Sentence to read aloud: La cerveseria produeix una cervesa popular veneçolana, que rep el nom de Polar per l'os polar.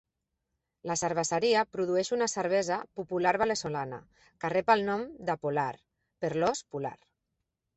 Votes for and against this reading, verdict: 1, 2, rejected